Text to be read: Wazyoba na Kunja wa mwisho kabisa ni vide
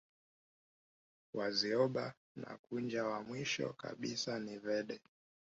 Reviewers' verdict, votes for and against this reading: rejected, 1, 2